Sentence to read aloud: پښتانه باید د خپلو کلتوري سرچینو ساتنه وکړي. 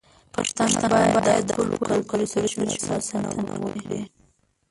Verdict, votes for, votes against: rejected, 1, 2